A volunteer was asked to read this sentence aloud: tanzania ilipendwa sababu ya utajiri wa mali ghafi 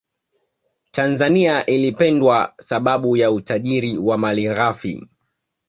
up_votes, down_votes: 2, 0